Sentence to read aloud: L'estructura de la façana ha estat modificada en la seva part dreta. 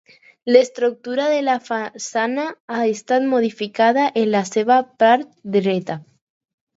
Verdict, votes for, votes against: accepted, 4, 0